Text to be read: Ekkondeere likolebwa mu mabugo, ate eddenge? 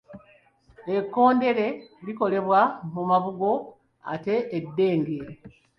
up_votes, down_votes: 2, 0